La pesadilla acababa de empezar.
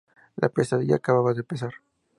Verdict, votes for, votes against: accepted, 2, 0